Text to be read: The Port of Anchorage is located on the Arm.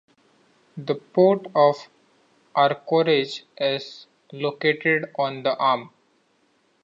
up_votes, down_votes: 2, 1